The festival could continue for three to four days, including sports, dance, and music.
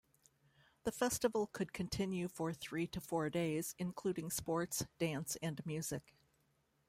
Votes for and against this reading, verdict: 2, 1, accepted